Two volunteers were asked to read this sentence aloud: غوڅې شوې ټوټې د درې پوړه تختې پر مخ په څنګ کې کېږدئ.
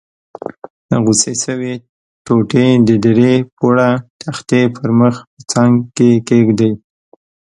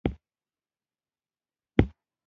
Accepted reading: first